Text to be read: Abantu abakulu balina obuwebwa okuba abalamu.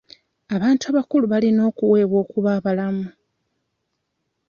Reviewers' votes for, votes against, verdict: 0, 2, rejected